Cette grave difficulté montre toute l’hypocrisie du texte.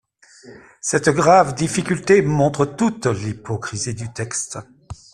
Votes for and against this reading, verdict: 2, 0, accepted